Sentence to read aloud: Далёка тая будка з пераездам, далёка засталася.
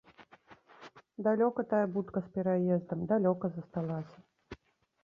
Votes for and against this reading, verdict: 0, 2, rejected